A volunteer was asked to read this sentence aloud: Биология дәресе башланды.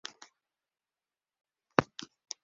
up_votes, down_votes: 0, 2